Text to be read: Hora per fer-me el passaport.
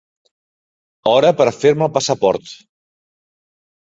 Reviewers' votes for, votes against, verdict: 5, 0, accepted